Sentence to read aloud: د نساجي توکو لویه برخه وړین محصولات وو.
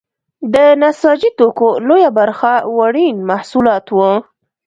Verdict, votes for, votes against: accepted, 2, 0